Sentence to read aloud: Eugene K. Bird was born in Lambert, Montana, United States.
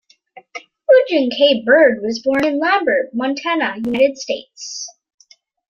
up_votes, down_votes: 2, 1